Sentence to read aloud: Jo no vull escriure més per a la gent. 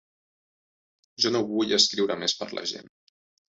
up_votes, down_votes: 0, 2